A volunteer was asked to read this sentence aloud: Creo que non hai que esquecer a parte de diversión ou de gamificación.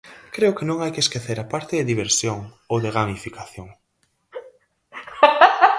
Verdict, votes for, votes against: rejected, 0, 4